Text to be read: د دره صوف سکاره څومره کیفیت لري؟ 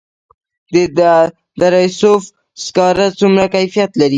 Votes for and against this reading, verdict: 2, 3, rejected